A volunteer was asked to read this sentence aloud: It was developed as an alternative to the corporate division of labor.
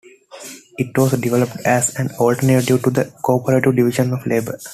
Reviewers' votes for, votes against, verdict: 1, 2, rejected